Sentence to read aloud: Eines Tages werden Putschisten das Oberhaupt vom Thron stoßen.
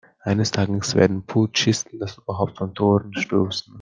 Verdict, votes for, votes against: rejected, 0, 2